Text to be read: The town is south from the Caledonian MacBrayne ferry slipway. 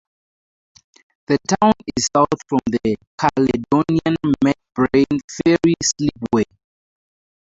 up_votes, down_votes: 0, 2